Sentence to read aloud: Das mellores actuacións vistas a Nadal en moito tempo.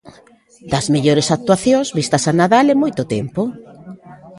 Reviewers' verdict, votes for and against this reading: rejected, 0, 2